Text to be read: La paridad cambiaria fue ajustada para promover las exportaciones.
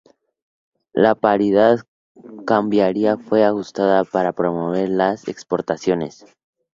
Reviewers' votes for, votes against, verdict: 2, 0, accepted